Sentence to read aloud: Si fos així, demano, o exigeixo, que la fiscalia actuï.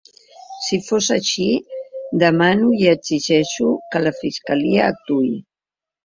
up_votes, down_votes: 0, 3